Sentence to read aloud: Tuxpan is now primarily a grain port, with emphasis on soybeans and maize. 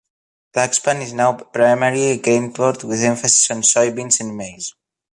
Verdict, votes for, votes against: accepted, 2, 1